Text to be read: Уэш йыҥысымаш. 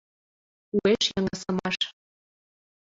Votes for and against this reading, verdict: 2, 0, accepted